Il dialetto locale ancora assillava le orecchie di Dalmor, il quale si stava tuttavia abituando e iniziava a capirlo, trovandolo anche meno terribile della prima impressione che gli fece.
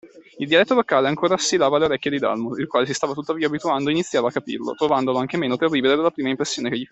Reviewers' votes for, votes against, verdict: 0, 2, rejected